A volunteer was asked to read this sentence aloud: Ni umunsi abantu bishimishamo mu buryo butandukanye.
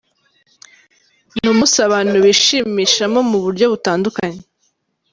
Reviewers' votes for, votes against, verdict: 2, 1, accepted